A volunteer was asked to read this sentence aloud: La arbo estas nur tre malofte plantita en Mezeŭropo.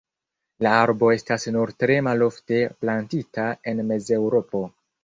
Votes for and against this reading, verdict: 2, 0, accepted